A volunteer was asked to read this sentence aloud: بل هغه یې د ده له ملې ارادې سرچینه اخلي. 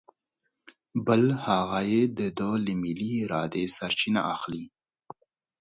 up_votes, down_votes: 2, 0